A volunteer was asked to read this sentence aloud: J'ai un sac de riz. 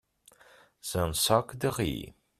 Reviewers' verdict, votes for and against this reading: rejected, 1, 2